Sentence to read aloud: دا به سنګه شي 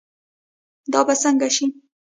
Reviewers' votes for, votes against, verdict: 1, 2, rejected